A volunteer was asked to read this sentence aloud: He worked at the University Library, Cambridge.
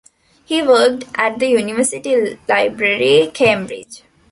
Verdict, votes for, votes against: accepted, 2, 0